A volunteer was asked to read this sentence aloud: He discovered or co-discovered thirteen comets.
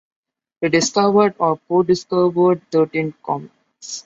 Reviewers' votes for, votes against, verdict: 2, 0, accepted